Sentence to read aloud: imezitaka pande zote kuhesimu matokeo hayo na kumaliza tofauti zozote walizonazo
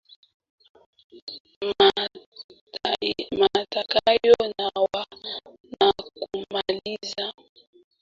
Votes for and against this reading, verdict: 1, 2, rejected